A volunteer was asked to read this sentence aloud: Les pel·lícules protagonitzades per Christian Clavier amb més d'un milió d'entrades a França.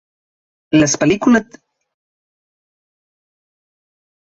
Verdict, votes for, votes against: rejected, 0, 3